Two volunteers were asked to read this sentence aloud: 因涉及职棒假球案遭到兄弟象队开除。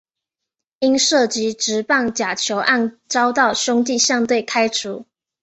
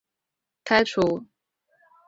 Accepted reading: first